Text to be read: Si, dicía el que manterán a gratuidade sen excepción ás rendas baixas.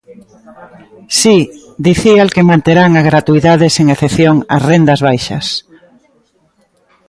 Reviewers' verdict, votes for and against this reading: accepted, 2, 0